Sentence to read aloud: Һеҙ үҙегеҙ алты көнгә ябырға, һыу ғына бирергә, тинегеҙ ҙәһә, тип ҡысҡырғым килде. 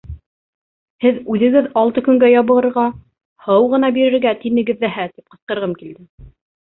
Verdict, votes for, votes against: rejected, 1, 2